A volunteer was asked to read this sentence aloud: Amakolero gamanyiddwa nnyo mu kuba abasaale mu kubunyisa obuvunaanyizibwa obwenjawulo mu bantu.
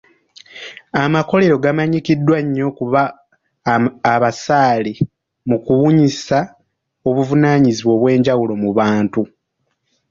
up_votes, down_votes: 1, 2